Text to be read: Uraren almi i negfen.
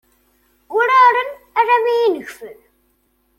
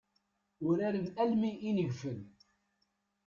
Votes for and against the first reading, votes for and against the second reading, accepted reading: 2, 0, 1, 2, first